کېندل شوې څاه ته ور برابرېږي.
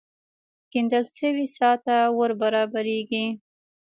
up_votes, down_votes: 1, 2